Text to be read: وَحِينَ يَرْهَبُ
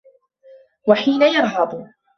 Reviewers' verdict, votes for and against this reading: accepted, 2, 1